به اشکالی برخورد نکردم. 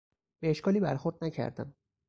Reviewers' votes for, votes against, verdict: 4, 2, accepted